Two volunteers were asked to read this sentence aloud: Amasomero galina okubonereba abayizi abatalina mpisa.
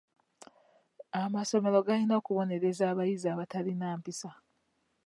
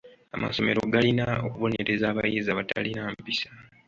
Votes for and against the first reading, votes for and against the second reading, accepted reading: 1, 2, 2, 1, second